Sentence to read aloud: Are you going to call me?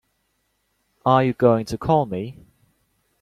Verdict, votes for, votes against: accepted, 2, 1